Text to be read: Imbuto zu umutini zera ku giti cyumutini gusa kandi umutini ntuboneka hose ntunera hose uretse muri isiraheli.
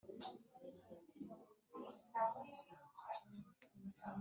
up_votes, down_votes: 0, 2